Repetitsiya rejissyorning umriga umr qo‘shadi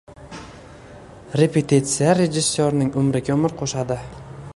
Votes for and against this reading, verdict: 2, 1, accepted